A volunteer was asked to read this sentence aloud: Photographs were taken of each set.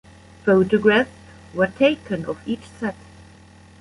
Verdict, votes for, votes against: rejected, 0, 2